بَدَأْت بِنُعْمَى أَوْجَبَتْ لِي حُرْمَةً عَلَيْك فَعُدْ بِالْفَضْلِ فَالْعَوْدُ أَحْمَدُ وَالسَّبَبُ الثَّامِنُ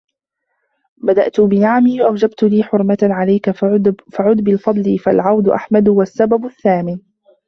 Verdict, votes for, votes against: rejected, 0, 2